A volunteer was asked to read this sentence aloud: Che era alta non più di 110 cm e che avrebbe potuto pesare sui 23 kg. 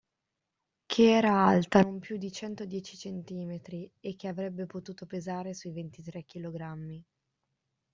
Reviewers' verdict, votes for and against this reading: rejected, 0, 2